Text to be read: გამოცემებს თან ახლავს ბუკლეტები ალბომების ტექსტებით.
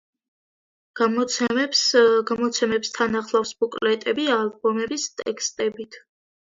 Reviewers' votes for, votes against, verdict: 3, 2, accepted